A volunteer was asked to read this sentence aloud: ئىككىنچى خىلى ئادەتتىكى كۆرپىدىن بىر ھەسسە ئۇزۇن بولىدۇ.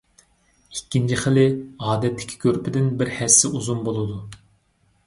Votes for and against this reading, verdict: 2, 0, accepted